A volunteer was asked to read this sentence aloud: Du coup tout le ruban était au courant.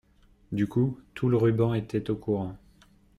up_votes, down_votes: 2, 0